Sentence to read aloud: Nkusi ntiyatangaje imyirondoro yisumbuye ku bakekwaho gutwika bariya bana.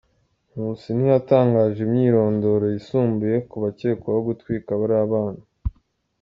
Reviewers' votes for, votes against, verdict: 0, 2, rejected